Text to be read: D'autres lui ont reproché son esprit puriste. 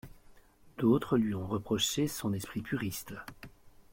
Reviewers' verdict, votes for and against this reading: accepted, 2, 0